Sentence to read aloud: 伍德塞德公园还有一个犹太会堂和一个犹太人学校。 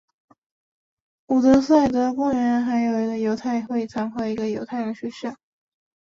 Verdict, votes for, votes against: accepted, 2, 0